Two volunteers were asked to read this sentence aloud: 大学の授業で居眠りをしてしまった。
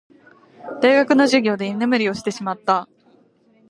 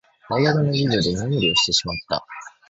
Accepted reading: second